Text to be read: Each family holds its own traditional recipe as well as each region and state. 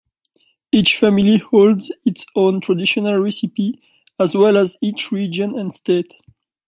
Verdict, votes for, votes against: accepted, 2, 0